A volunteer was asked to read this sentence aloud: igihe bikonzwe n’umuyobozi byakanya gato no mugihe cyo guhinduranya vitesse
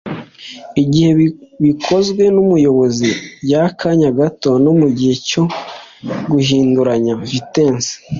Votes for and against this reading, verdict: 2, 0, accepted